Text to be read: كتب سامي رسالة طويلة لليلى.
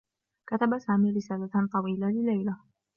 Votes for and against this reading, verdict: 0, 2, rejected